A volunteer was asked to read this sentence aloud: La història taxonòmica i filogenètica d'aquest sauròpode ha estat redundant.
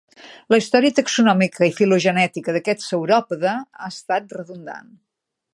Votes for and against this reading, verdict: 3, 0, accepted